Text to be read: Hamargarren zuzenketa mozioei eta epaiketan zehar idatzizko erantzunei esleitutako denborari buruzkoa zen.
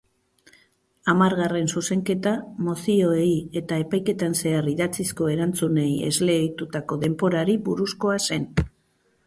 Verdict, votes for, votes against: accepted, 2, 0